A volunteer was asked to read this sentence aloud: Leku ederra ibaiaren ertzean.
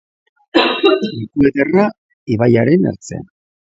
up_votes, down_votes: 0, 2